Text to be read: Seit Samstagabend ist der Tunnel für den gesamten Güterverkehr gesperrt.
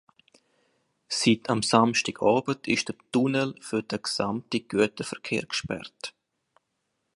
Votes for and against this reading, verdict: 2, 1, accepted